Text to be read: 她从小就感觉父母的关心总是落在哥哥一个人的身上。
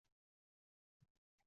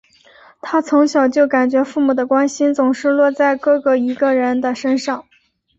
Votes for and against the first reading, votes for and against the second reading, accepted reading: 0, 2, 6, 2, second